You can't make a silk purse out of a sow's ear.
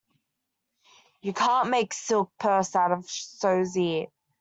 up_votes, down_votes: 1, 2